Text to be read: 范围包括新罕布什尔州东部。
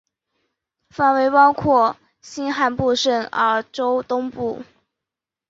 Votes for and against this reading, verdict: 5, 1, accepted